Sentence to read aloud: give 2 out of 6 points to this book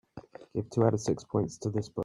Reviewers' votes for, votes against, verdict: 0, 2, rejected